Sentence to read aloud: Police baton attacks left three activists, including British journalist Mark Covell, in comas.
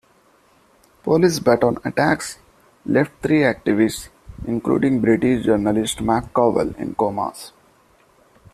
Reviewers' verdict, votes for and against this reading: accepted, 2, 0